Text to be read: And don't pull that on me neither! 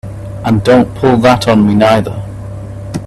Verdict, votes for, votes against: rejected, 1, 2